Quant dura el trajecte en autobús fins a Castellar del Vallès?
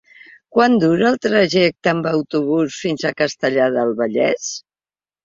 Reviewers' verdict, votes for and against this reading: rejected, 1, 2